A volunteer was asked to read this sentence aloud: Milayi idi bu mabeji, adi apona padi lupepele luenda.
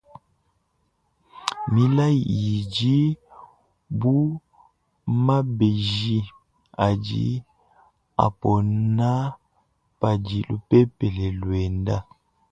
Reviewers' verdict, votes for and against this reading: accepted, 2, 0